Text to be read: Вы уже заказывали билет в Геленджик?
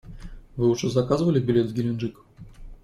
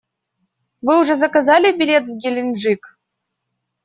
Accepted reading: first